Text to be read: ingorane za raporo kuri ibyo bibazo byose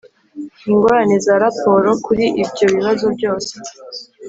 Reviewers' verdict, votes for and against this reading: accepted, 5, 0